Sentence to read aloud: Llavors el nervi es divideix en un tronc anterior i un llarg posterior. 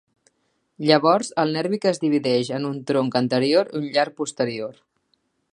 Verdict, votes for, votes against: rejected, 0, 2